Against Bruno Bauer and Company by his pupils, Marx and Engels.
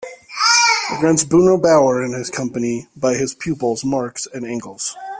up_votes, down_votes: 2, 0